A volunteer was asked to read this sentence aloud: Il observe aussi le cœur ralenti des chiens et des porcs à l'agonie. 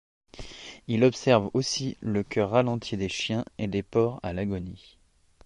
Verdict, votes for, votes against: accepted, 2, 0